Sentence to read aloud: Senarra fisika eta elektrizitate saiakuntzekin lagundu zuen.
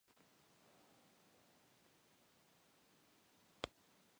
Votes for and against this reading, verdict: 0, 2, rejected